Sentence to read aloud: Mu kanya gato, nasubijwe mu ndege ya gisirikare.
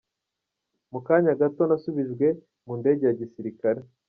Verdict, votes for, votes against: accepted, 3, 2